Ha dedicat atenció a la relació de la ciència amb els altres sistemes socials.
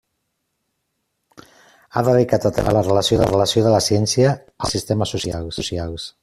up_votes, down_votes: 0, 2